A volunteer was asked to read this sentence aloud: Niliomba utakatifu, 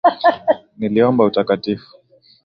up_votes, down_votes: 2, 0